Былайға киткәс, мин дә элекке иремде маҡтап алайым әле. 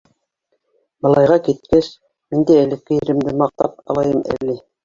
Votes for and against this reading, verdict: 0, 2, rejected